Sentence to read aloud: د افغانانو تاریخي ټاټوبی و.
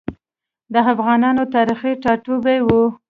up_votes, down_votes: 1, 2